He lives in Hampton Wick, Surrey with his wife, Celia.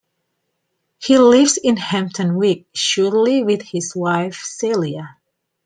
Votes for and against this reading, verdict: 2, 1, accepted